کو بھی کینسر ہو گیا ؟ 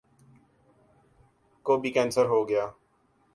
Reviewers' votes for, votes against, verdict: 2, 0, accepted